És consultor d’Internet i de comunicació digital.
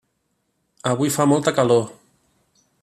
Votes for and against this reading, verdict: 1, 2, rejected